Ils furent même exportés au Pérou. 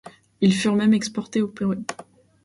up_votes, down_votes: 1, 2